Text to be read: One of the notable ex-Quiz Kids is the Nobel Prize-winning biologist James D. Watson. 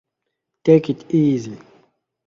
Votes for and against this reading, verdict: 0, 2, rejected